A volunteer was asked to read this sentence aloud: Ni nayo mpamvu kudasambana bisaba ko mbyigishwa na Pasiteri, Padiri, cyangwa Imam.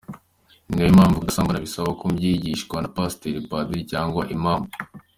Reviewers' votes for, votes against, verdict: 2, 1, accepted